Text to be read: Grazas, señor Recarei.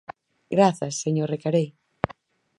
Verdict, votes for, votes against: accepted, 4, 0